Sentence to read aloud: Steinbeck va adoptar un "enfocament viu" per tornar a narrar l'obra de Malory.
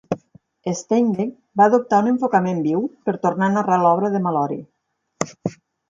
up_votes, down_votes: 4, 2